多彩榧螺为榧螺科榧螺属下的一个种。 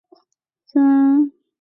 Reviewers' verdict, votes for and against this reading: rejected, 0, 2